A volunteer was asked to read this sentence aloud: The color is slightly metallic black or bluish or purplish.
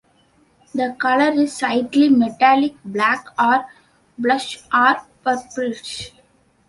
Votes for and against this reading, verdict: 0, 2, rejected